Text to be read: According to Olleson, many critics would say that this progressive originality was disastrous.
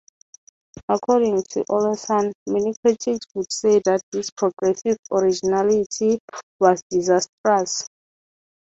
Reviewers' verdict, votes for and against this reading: accepted, 6, 0